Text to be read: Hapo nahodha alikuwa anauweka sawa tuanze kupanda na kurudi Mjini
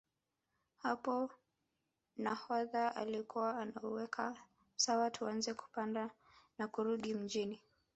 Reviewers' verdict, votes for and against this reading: accepted, 3, 2